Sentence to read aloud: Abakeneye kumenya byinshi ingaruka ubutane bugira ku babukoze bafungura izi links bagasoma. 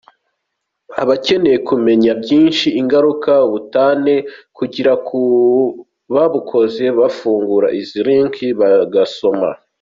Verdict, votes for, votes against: accepted, 2, 1